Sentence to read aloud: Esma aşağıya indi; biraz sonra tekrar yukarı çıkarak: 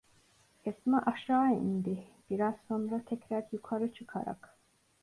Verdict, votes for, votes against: accepted, 2, 0